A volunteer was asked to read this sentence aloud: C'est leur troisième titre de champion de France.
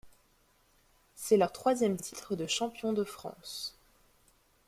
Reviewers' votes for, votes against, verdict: 2, 0, accepted